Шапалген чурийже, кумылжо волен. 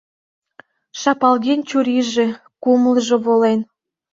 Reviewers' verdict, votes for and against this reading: accepted, 2, 0